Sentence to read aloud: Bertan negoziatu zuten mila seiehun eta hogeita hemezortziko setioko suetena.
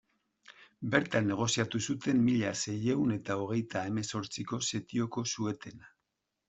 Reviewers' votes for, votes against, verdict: 2, 0, accepted